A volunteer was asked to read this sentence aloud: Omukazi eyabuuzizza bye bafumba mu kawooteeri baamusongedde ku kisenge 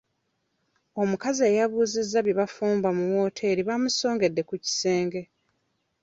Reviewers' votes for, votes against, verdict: 1, 2, rejected